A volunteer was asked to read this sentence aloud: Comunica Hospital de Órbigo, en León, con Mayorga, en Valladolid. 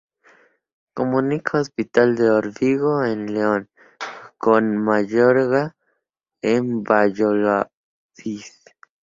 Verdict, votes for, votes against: rejected, 0, 2